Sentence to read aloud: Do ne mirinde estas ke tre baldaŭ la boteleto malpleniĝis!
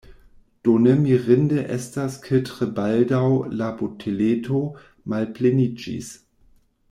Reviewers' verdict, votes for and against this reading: accepted, 2, 1